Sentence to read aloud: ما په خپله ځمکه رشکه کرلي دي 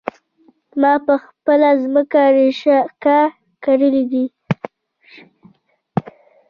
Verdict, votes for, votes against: rejected, 1, 2